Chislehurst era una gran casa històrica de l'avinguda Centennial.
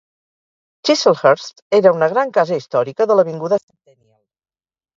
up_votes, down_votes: 0, 4